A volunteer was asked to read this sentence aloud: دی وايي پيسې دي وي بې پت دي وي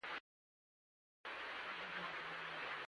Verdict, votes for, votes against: rejected, 0, 2